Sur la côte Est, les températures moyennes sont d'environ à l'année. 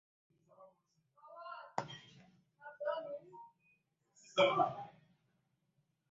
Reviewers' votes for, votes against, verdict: 0, 2, rejected